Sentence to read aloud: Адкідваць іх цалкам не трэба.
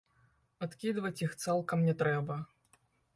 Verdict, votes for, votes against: rejected, 0, 2